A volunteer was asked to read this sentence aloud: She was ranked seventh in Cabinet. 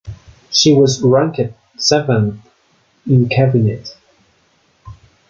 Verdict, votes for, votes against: rejected, 1, 2